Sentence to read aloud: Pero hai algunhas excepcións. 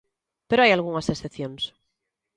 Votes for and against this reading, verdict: 2, 0, accepted